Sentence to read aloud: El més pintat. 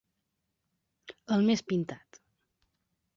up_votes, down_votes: 2, 0